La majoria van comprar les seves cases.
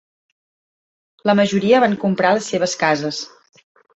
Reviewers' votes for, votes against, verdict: 3, 0, accepted